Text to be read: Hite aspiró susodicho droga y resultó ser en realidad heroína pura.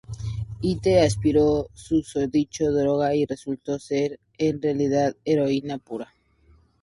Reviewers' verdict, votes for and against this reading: accepted, 4, 0